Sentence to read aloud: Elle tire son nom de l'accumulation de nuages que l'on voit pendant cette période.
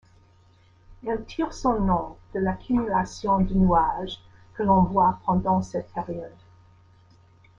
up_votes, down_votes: 2, 1